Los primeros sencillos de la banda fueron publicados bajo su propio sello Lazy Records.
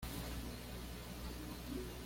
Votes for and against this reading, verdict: 1, 2, rejected